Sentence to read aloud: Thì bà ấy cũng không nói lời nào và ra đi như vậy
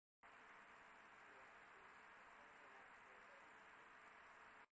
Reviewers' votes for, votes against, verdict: 0, 2, rejected